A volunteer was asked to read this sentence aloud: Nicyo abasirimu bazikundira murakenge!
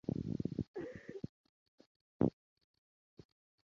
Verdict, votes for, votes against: rejected, 0, 2